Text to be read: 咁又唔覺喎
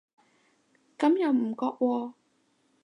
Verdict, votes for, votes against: accepted, 2, 0